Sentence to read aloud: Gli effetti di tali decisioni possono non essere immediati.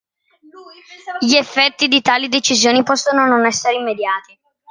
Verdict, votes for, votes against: accepted, 2, 0